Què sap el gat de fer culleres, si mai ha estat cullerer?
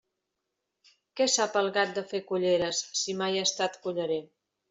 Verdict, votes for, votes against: accepted, 3, 0